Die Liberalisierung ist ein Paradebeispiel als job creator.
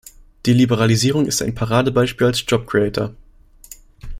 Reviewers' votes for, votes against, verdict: 2, 0, accepted